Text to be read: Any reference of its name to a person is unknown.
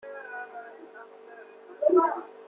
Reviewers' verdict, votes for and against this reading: rejected, 0, 2